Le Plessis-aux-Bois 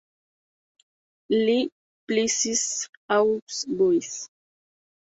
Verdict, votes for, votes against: rejected, 0, 2